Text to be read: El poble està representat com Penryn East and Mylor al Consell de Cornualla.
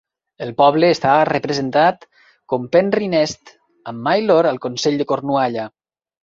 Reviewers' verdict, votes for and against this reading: rejected, 1, 2